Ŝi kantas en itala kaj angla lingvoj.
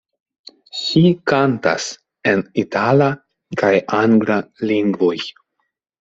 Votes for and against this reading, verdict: 2, 0, accepted